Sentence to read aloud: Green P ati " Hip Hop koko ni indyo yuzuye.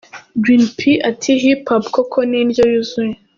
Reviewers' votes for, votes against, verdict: 2, 0, accepted